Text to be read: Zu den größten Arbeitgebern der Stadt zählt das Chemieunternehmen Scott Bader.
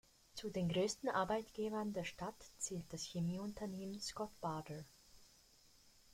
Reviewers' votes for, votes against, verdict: 2, 0, accepted